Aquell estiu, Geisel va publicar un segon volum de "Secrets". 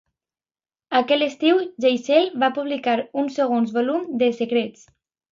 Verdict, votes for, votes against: accepted, 2, 0